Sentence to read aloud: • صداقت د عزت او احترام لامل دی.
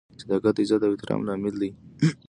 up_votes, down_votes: 2, 0